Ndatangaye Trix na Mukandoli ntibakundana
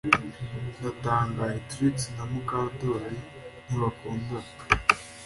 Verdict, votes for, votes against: accepted, 2, 0